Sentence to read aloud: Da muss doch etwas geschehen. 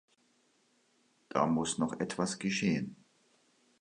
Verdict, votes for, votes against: rejected, 0, 2